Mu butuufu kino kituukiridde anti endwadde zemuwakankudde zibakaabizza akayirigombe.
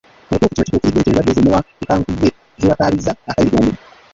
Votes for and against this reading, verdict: 0, 3, rejected